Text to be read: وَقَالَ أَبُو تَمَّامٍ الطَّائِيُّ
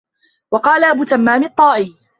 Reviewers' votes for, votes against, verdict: 3, 0, accepted